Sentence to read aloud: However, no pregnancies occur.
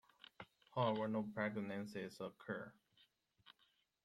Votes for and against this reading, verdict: 2, 1, accepted